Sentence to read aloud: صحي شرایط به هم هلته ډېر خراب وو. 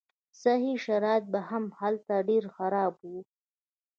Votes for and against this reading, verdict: 2, 0, accepted